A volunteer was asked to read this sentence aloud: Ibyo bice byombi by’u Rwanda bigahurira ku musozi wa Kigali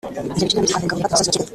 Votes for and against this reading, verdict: 0, 2, rejected